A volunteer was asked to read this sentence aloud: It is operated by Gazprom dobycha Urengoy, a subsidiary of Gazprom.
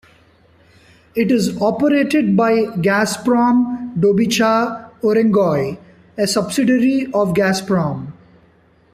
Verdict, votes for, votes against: accepted, 2, 0